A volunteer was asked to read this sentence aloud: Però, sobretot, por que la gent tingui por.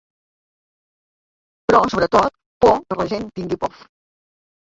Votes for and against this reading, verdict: 1, 2, rejected